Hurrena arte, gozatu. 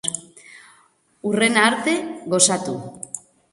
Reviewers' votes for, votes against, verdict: 3, 1, accepted